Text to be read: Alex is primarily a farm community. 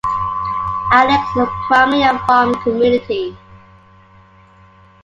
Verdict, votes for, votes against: accepted, 2, 1